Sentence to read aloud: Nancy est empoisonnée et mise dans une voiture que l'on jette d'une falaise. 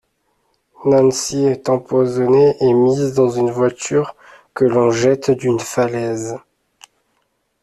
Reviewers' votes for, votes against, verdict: 2, 0, accepted